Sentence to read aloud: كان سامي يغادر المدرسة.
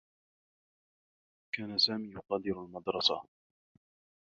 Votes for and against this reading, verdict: 2, 1, accepted